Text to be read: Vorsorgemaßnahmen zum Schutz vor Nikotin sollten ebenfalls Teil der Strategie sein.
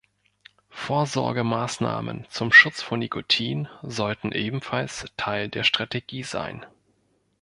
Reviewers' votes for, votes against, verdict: 2, 0, accepted